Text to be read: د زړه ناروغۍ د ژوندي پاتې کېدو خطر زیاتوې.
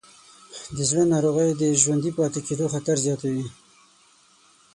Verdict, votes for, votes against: accepted, 6, 0